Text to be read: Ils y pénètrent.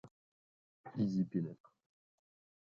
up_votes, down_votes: 1, 2